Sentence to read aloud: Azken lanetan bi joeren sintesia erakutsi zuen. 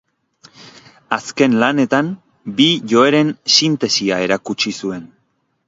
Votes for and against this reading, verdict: 2, 0, accepted